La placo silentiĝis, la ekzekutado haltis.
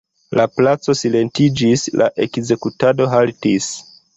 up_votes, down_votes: 2, 1